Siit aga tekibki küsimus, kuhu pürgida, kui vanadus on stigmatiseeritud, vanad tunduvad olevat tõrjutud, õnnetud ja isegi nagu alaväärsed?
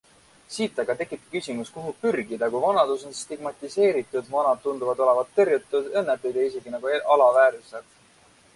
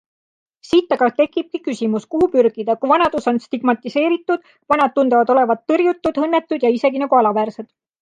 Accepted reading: second